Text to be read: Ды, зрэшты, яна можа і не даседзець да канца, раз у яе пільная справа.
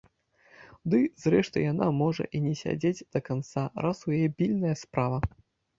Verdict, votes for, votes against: rejected, 0, 2